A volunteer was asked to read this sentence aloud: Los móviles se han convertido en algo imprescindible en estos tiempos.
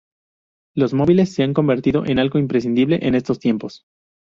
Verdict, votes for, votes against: accepted, 2, 0